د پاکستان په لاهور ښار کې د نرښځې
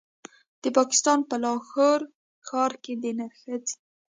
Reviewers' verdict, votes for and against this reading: rejected, 1, 2